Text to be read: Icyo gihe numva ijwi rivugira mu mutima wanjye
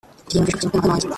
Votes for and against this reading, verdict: 0, 2, rejected